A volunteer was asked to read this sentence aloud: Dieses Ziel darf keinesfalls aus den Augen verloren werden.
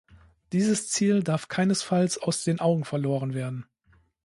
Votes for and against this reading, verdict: 2, 0, accepted